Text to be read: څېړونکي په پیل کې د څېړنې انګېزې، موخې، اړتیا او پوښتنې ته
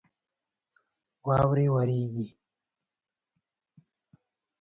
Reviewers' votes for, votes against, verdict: 2, 4, rejected